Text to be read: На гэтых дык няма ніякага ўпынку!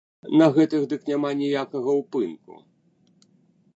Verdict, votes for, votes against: accepted, 2, 0